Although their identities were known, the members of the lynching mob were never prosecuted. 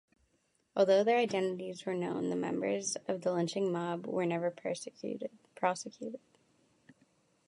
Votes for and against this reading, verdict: 0, 2, rejected